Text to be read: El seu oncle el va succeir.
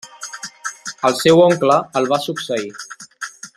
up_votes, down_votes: 3, 0